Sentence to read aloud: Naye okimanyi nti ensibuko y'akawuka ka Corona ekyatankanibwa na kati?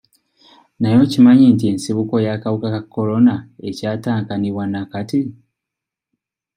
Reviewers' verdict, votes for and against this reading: accepted, 2, 0